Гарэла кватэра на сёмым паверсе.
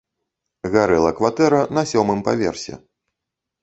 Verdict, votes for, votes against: accepted, 2, 0